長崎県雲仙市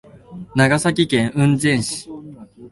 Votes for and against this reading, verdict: 2, 0, accepted